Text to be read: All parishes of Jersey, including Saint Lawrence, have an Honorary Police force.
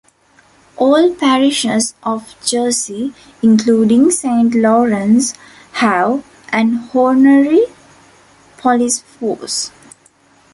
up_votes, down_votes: 2, 0